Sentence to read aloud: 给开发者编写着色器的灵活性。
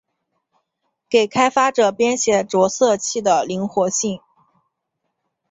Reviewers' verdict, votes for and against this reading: accepted, 9, 0